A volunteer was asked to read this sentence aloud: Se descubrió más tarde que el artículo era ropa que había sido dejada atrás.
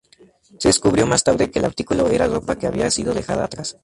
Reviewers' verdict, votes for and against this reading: accepted, 2, 0